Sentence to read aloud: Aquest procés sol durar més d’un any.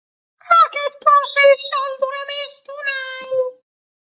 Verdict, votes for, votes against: rejected, 0, 2